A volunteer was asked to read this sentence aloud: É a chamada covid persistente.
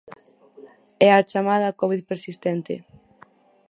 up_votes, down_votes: 4, 0